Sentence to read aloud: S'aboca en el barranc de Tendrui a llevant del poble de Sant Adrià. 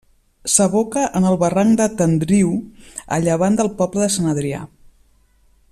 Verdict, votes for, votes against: rejected, 1, 2